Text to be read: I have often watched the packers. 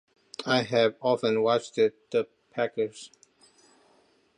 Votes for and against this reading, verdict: 1, 2, rejected